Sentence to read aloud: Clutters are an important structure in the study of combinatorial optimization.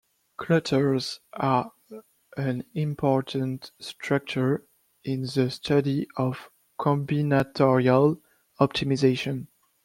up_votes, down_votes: 2, 0